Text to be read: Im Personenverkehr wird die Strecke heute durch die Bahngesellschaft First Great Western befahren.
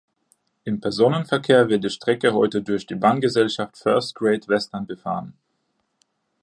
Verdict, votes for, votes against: accepted, 2, 0